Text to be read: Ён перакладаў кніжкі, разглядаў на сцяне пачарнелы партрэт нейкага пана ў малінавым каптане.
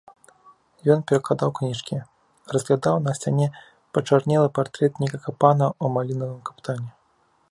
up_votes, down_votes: 2, 0